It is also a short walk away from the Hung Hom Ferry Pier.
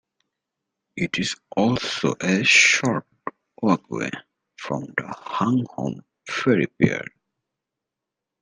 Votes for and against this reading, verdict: 2, 0, accepted